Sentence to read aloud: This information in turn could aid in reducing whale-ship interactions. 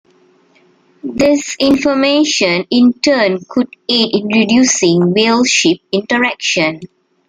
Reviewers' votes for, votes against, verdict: 2, 1, accepted